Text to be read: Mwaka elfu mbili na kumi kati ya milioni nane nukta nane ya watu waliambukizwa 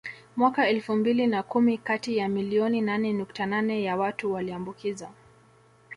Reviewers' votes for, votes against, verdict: 2, 0, accepted